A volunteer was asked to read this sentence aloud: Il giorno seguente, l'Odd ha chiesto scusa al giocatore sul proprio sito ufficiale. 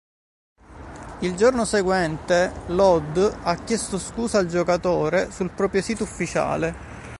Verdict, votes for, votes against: accepted, 2, 0